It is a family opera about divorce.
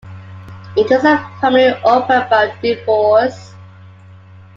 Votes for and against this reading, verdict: 2, 0, accepted